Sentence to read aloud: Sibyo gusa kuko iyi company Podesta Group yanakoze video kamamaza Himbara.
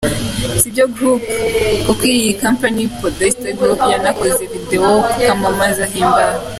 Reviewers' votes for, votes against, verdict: 2, 3, rejected